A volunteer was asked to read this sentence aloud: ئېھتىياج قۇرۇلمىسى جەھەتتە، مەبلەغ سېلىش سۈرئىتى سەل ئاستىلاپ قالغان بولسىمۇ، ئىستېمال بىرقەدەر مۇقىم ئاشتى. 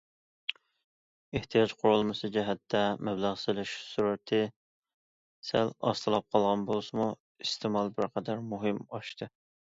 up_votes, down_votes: 2, 1